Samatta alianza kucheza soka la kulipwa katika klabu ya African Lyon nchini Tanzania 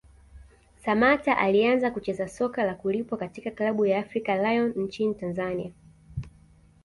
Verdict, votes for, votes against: accepted, 2, 0